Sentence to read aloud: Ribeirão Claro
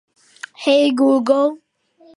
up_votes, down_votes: 0, 2